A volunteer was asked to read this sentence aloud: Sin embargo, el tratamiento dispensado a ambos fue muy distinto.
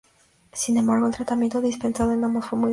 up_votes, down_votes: 0, 2